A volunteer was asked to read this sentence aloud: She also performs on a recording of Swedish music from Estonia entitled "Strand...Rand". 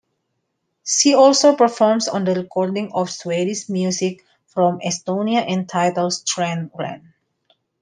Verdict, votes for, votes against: accepted, 2, 0